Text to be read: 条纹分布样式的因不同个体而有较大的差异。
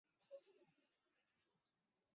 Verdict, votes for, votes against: rejected, 0, 5